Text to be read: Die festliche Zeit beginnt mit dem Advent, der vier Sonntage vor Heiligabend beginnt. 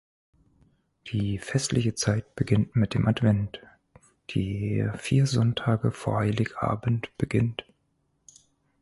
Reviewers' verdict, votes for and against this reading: accepted, 4, 2